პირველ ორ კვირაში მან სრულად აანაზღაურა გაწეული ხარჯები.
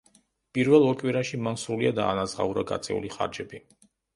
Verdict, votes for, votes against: rejected, 1, 2